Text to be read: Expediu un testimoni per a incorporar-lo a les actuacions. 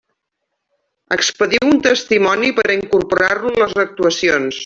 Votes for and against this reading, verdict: 1, 2, rejected